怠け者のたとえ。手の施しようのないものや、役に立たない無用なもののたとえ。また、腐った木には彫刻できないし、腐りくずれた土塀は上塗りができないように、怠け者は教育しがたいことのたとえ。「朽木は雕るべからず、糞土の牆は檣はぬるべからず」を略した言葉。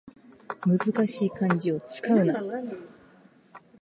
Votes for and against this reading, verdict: 0, 2, rejected